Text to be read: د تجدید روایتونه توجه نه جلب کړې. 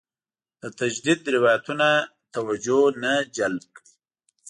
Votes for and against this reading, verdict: 0, 2, rejected